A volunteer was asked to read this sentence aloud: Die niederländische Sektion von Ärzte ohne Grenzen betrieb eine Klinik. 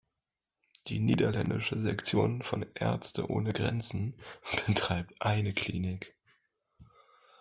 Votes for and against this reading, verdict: 1, 2, rejected